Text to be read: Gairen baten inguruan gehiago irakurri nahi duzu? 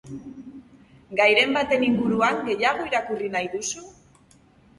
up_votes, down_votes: 2, 0